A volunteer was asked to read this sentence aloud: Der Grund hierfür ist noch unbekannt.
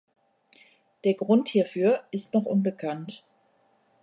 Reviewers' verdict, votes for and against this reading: accepted, 2, 0